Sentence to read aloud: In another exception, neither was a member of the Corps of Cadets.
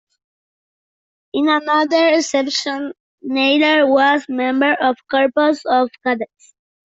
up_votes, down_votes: 0, 2